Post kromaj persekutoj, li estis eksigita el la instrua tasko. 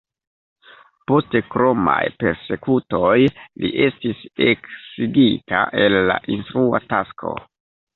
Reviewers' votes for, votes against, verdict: 0, 2, rejected